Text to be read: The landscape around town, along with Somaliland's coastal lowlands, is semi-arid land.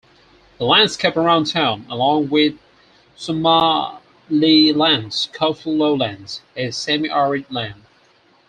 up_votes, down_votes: 0, 4